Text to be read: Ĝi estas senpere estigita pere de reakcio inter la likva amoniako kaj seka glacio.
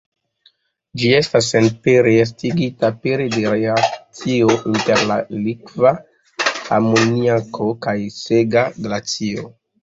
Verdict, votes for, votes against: rejected, 1, 2